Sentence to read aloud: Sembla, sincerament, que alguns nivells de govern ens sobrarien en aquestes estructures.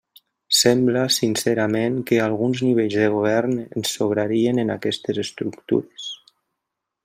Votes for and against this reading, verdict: 3, 0, accepted